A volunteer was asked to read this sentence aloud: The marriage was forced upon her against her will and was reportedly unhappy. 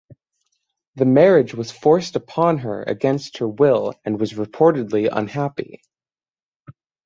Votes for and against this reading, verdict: 9, 0, accepted